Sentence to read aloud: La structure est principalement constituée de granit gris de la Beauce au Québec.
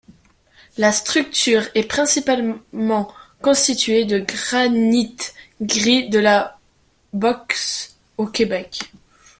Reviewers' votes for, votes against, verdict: 1, 2, rejected